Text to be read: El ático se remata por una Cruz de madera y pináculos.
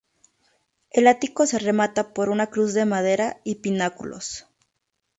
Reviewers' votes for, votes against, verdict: 0, 2, rejected